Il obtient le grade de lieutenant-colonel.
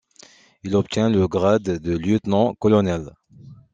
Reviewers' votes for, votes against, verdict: 2, 0, accepted